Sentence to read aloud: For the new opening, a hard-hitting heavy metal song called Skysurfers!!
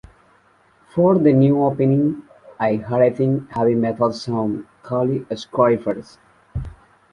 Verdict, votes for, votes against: rejected, 0, 2